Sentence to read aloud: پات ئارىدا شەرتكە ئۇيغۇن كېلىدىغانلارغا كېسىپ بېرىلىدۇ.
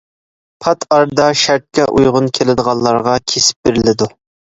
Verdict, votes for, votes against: accepted, 2, 0